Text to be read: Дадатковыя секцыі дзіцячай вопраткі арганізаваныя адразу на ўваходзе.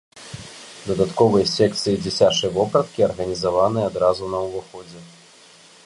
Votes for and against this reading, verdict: 0, 2, rejected